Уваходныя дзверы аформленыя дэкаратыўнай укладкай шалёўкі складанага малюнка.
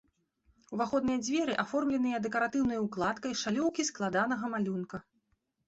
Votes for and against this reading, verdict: 2, 0, accepted